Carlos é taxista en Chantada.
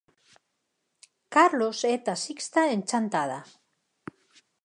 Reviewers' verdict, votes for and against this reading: accepted, 4, 0